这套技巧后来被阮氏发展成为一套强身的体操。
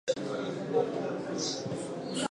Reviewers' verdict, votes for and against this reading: rejected, 0, 2